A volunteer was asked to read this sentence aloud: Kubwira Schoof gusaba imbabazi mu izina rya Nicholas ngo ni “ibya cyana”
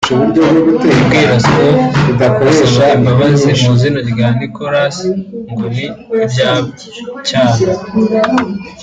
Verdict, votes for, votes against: rejected, 0, 3